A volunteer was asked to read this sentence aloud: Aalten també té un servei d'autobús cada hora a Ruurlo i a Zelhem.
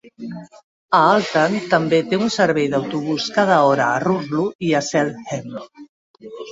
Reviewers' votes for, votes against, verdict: 0, 3, rejected